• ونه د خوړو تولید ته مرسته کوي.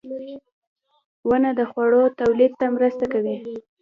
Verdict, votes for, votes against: rejected, 1, 2